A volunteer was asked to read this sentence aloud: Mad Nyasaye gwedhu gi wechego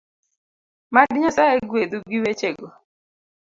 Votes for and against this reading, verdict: 2, 0, accepted